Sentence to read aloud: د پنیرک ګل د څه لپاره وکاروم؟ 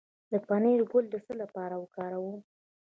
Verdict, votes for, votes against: accepted, 2, 0